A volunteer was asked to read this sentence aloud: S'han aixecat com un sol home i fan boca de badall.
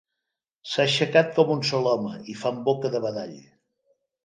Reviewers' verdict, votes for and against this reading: accepted, 3, 1